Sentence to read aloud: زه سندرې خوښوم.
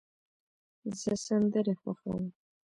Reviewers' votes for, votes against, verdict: 2, 1, accepted